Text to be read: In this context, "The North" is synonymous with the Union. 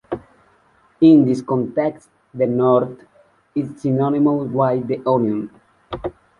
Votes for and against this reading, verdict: 0, 2, rejected